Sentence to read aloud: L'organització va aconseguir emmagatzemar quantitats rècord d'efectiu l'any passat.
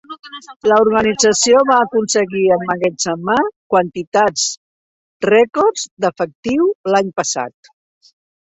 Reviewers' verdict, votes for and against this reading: rejected, 0, 2